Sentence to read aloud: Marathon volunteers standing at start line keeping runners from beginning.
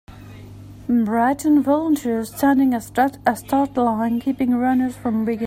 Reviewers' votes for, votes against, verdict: 0, 2, rejected